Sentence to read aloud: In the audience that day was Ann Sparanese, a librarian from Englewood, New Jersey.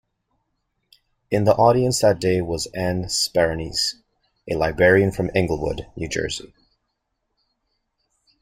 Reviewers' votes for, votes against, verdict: 2, 0, accepted